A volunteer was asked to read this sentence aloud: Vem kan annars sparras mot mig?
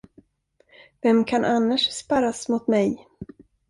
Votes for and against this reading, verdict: 2, 0, accepted